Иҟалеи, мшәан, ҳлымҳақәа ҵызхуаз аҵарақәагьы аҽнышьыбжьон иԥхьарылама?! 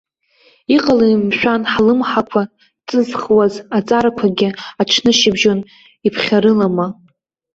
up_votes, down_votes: 2, 1